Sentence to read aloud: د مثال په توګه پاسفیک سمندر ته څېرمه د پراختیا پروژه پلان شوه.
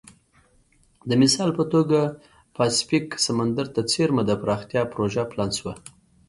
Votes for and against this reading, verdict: 2, 0, accepted